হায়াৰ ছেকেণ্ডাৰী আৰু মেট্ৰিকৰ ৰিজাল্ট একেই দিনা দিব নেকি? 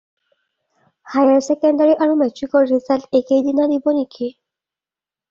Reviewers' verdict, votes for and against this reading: accepted, 2, 0